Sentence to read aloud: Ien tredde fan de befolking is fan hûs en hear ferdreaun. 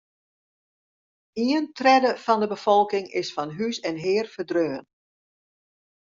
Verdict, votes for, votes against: rejected, 0, 2